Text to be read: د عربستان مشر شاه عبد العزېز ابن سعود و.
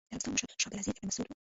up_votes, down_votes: 0, 2